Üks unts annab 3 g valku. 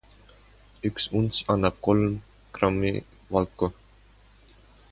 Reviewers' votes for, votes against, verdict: 0, 2, rejected